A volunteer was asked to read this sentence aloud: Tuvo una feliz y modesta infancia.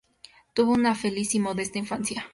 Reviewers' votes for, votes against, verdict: 2, 0, accepted